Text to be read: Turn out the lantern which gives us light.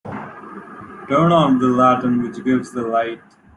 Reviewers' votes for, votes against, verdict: 0, 2, rejected